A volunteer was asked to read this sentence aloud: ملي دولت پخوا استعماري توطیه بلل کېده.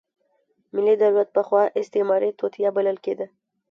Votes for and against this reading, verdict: 1, 2, rejected